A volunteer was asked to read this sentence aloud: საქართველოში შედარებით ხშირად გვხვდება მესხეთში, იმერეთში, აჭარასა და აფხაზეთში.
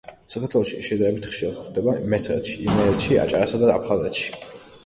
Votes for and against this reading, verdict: 2, 1, accepted